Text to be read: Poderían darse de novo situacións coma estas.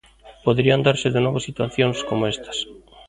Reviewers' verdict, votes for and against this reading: rejected, 1, 2